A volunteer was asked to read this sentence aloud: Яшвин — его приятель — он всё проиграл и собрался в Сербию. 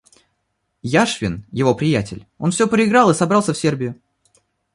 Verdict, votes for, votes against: accepted, 2, 0